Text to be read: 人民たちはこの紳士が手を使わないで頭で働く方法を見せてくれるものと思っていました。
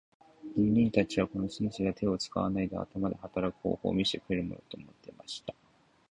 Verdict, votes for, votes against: accepted, 2, 0